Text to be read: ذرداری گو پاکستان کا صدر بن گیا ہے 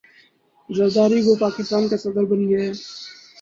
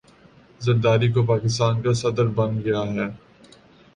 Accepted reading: second